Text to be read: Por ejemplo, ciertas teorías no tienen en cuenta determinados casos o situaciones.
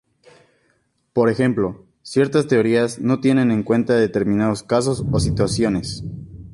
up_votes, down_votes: 2, 0